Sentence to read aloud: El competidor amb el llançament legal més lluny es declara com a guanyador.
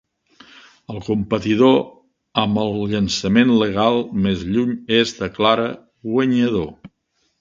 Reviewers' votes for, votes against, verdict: 0, 4, rejected